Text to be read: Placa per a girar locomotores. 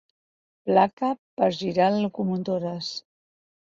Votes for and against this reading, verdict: 0, 4, rejected